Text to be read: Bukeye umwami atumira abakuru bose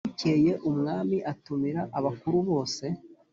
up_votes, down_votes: 2, 0